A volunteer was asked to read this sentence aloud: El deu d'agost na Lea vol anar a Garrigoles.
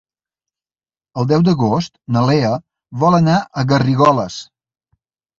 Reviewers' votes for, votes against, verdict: 2, 0, accepted